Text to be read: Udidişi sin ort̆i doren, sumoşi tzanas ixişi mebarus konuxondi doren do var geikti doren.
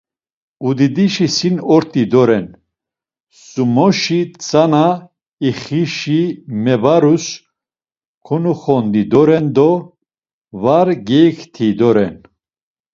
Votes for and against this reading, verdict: 1, 2, rejected